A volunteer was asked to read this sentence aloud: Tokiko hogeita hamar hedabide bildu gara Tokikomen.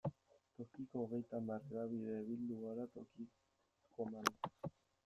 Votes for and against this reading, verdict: 0, 2, rejected